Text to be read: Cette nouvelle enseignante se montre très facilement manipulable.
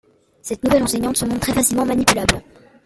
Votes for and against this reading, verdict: 1, 2, rejected